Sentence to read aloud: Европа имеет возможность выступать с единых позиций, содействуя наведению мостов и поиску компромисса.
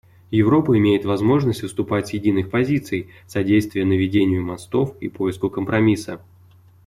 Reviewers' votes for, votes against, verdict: 2, 0, accepted